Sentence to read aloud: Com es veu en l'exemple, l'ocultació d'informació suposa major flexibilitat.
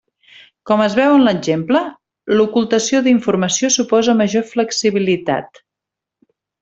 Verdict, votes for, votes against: accepted, 3, 0